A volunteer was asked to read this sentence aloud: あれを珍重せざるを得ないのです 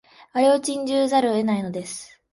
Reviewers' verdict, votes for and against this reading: rejected, 1, 2